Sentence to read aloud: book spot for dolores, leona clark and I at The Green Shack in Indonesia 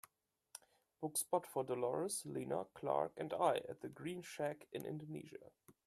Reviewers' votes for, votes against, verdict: 3, 0, accepted